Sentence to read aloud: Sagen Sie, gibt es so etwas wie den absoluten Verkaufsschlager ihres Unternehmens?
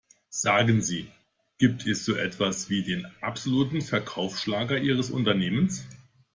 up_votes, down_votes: 2, 0